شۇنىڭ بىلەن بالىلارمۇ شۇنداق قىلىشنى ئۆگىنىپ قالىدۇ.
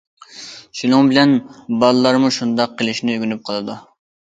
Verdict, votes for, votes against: accepted, 2, 0